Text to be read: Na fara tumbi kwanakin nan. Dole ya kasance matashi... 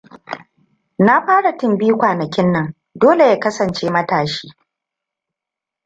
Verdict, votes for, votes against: rejected, 1, 2